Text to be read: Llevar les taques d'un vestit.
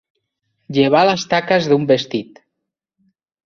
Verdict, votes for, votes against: accepted, 3, 1